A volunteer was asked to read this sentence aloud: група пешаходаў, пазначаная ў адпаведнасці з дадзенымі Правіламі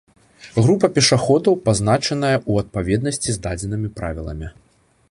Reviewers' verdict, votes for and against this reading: accepted, 2, 0